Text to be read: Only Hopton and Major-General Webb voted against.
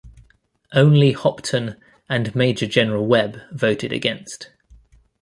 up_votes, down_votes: 2, 0